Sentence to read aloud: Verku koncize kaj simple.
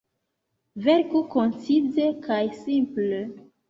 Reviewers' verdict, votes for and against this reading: accepted, 2, 0